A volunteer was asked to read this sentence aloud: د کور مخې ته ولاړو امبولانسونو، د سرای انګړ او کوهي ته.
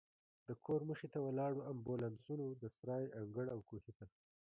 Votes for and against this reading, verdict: 2, 0, accepted